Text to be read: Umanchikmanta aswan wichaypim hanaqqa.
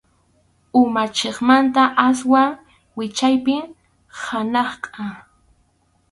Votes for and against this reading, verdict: 2, 2, rejected